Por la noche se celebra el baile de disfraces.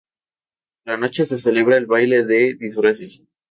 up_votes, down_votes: 0, 2